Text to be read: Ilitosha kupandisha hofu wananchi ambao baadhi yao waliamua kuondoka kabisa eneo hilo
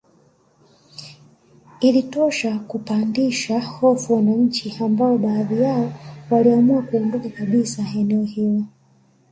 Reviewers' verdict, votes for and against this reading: rejected, 1, 2